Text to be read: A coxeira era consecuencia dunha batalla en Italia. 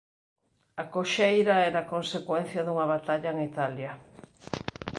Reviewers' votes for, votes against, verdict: 2, 0, accepted